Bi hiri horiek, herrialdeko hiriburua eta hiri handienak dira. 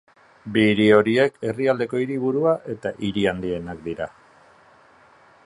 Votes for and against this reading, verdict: 2, 0, accepted